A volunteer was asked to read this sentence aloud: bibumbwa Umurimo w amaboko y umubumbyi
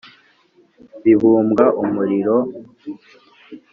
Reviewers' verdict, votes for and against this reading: rejected, 1, 2